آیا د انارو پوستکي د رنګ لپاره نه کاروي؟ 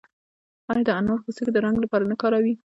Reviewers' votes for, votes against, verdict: 1, 2, rejected